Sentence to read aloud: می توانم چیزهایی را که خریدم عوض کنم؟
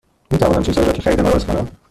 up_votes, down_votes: 1, 2